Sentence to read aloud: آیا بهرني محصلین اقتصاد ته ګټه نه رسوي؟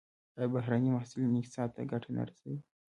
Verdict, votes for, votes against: accepted, 2, 0